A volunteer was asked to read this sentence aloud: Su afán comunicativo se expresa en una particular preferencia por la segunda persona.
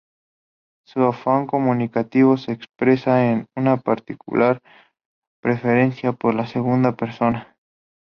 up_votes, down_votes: 2, 0